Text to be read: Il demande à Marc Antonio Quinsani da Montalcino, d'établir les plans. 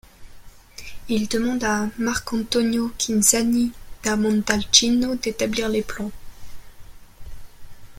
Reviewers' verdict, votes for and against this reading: rejected, 1, 2